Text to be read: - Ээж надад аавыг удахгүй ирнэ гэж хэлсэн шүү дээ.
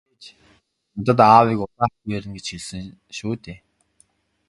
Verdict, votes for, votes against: rejected, 0, 2